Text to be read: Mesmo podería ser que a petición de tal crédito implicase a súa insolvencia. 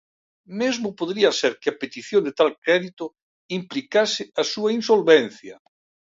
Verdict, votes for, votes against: accepted, 2, 0